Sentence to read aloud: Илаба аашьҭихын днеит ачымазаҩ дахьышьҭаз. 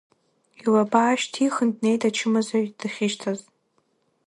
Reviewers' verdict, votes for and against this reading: rejected, 0, 2